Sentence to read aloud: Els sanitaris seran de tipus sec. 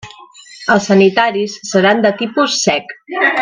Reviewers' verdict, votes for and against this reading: rejected, 1, 2